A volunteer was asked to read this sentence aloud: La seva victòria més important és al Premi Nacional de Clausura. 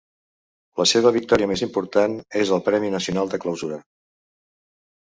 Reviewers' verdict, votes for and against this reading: accepted, 2, 0